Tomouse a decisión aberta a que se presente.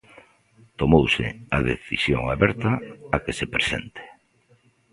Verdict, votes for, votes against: accepted, 2, 0